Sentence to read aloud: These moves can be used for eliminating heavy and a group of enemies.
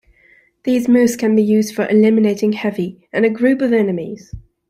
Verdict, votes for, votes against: rejected, 0, 2